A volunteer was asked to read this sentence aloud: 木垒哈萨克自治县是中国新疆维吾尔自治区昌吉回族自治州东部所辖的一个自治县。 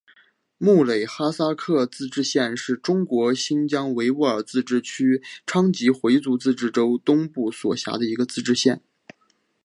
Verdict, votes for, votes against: accepted, 4, 0